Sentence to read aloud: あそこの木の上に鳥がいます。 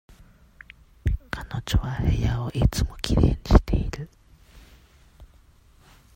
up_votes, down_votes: 0, 2